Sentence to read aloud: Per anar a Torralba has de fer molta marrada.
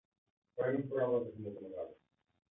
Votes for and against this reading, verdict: 0, 2, rejected